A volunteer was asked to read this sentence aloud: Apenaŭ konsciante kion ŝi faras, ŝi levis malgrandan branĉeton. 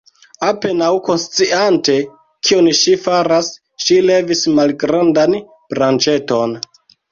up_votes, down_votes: 1, 2